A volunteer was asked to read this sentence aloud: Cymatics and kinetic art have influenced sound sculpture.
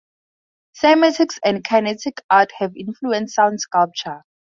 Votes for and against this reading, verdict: 2, 0, accepted